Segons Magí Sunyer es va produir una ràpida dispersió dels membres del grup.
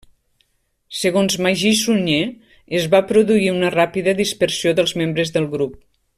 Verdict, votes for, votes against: accepted, 3, 0